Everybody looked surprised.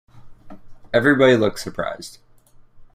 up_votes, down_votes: 2, 0